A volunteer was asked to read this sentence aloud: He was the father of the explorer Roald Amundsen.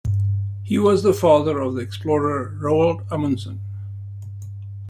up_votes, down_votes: 2, 0